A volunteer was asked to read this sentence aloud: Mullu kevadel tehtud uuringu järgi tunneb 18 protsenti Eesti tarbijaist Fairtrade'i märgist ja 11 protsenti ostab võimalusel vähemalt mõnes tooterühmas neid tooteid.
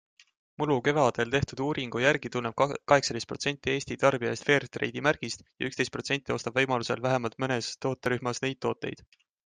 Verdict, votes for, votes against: rejected, 0, 2